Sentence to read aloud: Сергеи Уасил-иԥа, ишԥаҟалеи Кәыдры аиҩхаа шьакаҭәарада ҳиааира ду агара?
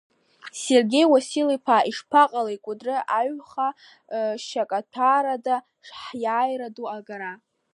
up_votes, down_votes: 1, 2